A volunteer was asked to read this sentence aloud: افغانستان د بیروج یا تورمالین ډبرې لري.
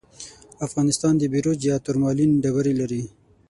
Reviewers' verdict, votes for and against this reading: rejected, 6, 9